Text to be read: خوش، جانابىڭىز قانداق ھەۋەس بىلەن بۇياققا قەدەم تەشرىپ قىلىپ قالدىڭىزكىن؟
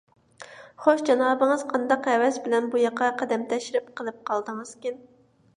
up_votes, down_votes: 2, 0